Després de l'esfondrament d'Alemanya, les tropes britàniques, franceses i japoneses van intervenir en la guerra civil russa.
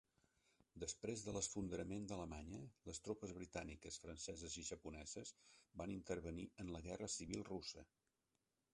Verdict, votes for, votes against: rejected, 0, 3